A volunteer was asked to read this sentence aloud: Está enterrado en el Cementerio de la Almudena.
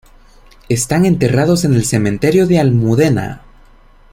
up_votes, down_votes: 0, 2